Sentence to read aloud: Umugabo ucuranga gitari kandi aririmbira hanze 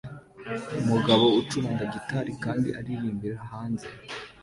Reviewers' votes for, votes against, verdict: 2, 0, accepted